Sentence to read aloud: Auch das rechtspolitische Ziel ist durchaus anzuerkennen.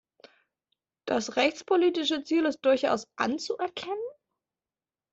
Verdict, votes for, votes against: rejected, 0, 2